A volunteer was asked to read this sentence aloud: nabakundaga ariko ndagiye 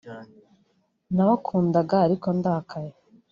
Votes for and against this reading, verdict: 0, 2, rejected